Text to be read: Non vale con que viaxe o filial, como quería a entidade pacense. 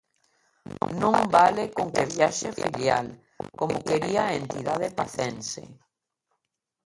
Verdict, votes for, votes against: rejected, 0, 2